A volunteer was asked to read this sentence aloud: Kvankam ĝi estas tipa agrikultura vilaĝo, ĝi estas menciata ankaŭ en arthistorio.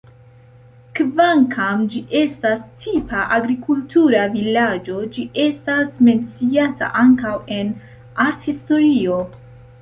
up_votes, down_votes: 2, 0